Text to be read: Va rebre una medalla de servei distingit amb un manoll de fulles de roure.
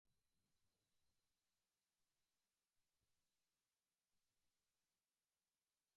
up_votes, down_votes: 0, 2